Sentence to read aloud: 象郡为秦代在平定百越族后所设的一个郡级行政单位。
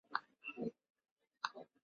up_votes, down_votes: 0, 6